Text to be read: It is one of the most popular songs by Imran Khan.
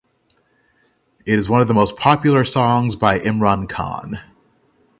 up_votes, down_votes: 0, 3